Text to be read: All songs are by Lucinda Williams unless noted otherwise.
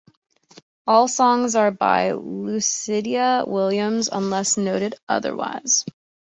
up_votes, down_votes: 1, 2